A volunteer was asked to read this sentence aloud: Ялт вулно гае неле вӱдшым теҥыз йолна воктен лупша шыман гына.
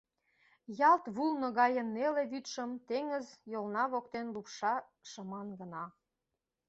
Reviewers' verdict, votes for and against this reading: accepted, 2, 0